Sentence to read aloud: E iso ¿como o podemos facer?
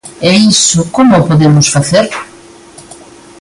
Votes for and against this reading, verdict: 2, 0, accepted